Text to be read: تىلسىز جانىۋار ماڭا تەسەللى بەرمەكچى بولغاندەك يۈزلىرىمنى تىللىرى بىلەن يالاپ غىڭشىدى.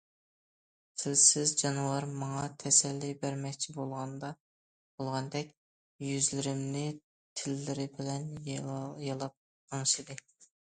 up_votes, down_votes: 0, 2